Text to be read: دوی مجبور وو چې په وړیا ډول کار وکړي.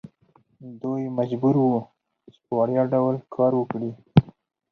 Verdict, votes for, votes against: rejected, 2, 4